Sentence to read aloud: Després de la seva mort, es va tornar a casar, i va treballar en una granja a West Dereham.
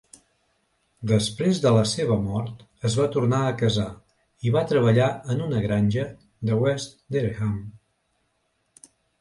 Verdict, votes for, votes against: rejected, 1, 3